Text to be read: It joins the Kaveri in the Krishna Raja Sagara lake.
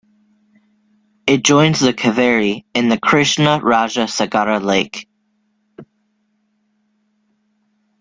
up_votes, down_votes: 2, 0